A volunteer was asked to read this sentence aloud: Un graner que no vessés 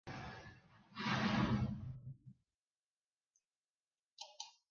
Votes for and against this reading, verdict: 0, 3, rejected